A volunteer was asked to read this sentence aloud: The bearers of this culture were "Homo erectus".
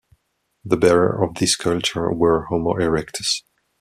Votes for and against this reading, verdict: 1, 2, rejected